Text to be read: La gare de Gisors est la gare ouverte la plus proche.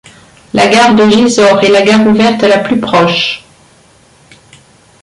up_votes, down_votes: 2, 1